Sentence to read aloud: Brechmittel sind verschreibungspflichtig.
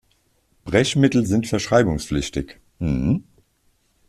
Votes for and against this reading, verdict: 0, 2, rejected